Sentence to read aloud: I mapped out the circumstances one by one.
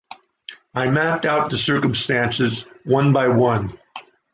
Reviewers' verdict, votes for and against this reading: rejected, 0, 2